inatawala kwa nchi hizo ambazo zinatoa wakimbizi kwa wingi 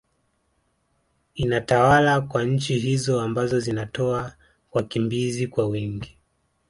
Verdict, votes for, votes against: accepted, 3, 2